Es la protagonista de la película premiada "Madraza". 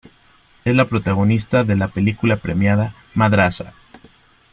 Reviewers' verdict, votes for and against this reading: accepted, 2, 0